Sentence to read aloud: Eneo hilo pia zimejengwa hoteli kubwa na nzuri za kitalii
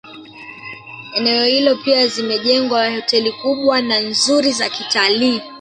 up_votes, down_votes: 1, 2